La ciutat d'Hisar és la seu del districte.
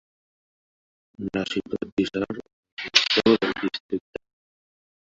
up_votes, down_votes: 0, 2